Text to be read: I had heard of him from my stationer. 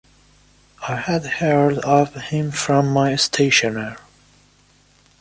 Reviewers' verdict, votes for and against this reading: accepted, 2, 0